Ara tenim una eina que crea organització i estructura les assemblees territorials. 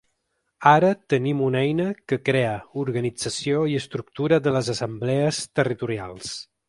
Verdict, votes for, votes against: rejected, 0, 3